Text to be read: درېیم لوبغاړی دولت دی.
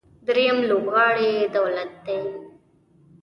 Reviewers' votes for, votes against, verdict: 2, 0, accepted